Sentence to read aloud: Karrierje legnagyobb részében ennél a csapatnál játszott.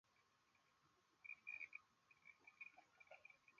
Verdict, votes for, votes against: rejected, 0, 2